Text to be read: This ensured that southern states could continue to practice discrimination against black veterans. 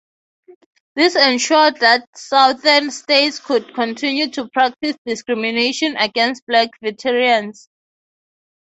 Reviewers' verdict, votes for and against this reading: accepted, 3, 0